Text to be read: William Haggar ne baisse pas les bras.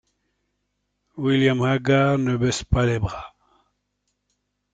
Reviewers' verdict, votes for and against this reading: accepted, 2, 0